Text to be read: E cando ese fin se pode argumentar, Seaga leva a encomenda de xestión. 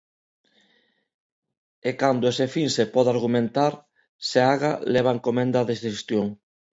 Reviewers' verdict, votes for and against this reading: accepted, 2, 1